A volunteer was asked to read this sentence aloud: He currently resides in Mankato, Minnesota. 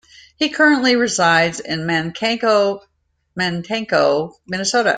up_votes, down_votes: 0, 2